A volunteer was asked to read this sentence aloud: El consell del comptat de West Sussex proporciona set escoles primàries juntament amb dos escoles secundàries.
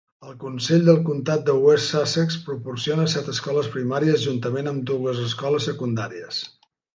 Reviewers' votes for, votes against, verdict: 0, 2, rejected